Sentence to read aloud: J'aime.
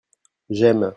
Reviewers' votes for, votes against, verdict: 2, 0, accepted